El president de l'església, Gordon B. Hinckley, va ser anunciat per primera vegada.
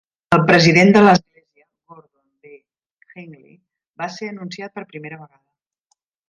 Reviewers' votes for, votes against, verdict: 0, 2, rejected